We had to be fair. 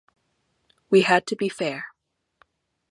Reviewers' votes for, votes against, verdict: 2, 0, accepted